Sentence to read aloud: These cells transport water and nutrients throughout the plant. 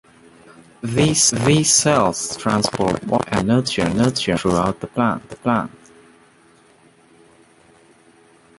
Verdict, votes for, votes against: rejected, 0, 2